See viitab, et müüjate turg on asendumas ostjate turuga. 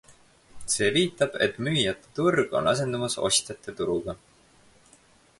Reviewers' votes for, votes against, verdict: 4, 0, accepted